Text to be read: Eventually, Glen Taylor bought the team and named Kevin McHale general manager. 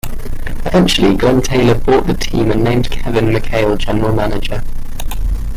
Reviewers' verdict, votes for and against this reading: rejected, 0, 2